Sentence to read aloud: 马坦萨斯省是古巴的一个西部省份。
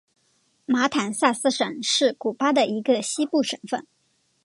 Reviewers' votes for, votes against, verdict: 2, 0, accepted